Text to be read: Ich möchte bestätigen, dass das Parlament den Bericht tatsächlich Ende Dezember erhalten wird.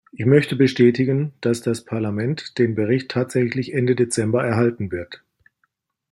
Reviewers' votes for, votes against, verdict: 2, 0, accepted